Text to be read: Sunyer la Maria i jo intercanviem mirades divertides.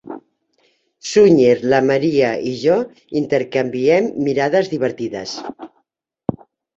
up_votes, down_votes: 3, 1